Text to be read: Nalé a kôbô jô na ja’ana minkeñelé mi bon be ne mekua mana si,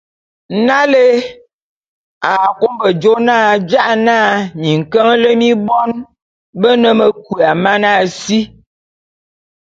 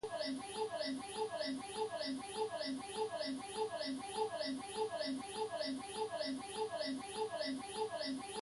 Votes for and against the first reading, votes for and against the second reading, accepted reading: 2, 0, 0, 2, first